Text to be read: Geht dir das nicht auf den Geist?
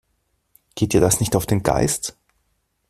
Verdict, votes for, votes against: accepted, 2, 0